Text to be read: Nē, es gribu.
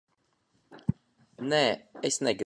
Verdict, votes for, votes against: rejected, 0, 2